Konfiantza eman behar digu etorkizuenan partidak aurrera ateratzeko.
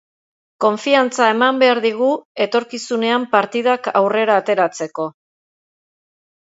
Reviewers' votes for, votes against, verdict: 2, 0, accepted